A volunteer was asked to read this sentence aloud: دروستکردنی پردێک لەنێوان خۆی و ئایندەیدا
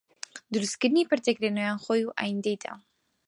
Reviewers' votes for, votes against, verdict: 4, 0, accepted